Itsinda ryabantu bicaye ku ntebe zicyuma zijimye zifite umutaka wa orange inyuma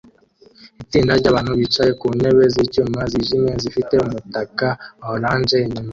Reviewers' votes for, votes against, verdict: 1, 2, rejected